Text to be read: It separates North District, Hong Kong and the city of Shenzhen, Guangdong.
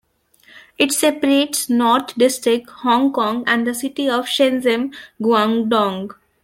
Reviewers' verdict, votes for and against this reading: accepted, 2, 0